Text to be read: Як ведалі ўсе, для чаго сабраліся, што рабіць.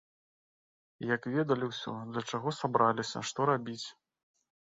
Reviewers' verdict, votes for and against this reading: rejected, 0, 2